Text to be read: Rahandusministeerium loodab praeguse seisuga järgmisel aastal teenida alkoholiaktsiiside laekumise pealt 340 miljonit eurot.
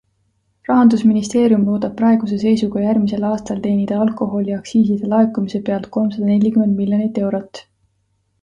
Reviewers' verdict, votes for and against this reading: rejected, 0, 2